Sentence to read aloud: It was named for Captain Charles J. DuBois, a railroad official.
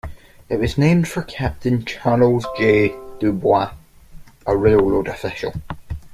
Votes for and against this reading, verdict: 1, 2, rejected